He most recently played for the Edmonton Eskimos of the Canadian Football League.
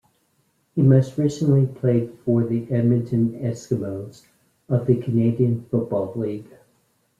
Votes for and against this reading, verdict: 2, 0, accepted